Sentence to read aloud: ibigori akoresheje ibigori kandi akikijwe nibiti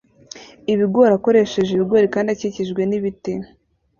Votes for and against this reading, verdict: 2, 0, accepted